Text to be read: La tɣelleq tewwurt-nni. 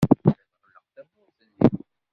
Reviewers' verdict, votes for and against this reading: rejected, 0, 2